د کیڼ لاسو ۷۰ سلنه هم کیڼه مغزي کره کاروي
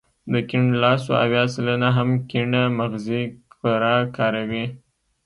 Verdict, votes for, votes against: rejected, 0, 2